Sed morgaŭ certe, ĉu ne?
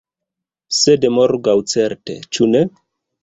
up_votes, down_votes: 2, 1